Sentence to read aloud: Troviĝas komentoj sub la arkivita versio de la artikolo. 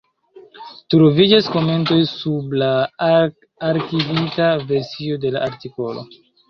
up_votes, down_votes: 1, 2